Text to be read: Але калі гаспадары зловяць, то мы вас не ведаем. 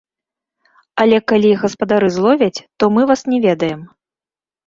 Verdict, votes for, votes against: rejected, 0, 2